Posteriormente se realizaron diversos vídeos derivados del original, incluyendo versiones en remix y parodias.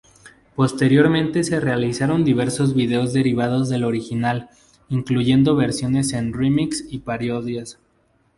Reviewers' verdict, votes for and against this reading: accepted, 2, 0